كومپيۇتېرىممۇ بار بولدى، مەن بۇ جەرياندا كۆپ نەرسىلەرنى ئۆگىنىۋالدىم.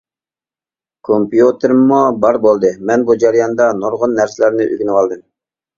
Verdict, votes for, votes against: rejected, 0, 2